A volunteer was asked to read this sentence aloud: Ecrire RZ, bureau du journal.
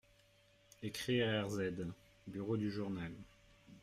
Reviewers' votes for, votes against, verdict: 1, 2, rejected